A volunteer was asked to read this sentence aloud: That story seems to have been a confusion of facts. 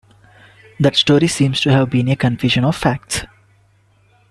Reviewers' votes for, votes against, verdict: 1, 2, rejected